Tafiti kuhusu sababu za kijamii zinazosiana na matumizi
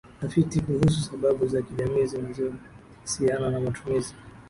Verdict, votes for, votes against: accepted, 2, 0